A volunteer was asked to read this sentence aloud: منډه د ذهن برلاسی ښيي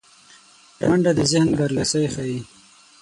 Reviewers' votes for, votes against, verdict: 3, 6, rejected